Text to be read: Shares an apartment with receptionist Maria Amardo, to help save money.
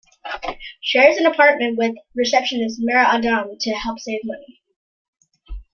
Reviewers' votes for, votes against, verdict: 1, 2, rejected